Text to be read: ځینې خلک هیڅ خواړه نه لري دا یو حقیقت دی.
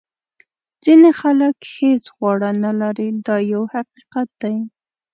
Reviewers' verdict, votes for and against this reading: accepted, 2, 0